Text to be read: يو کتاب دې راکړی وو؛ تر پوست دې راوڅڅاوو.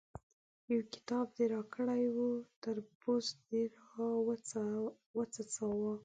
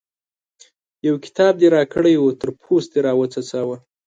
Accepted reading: second